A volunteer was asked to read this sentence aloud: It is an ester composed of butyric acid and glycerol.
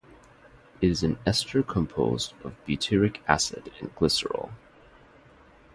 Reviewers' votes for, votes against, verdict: 2, 0, accepted